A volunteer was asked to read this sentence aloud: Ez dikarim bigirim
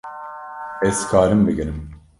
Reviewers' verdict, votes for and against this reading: rejected, 1, 2